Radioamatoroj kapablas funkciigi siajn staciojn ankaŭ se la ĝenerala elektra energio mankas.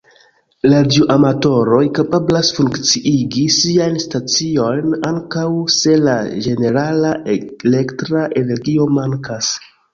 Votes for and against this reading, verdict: 1, 3, rejected